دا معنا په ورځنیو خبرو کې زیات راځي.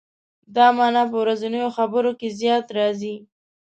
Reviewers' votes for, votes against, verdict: 2, 0, accepted